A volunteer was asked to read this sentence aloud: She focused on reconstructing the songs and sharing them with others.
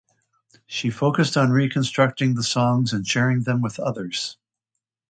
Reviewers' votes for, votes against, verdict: 2, 0, accepted